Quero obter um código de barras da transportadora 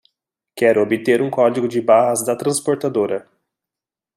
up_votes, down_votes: 2, 0